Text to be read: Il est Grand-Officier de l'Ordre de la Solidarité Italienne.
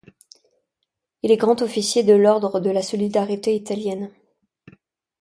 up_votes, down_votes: 2, 0